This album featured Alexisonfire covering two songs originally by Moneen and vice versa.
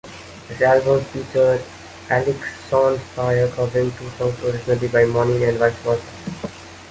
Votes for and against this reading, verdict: 2, 1, accepted